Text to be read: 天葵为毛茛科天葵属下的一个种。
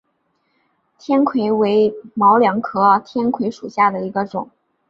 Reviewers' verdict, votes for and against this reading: accepted, 2, 0